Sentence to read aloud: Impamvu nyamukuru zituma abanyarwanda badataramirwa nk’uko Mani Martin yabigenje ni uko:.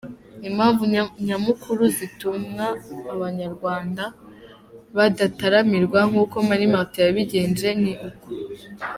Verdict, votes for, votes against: rejected, 1, 2